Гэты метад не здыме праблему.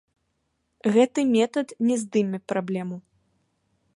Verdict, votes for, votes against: accepted, 2, 0